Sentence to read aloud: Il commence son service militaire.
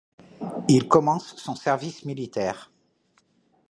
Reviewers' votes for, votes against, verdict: 2, 0, accepted